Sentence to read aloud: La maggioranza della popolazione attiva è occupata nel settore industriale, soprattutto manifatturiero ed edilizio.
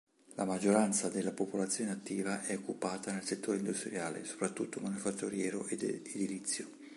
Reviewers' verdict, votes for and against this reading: accepted, 2, 0